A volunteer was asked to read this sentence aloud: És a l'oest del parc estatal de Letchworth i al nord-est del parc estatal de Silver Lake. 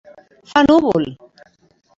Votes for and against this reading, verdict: 0, 2, rejected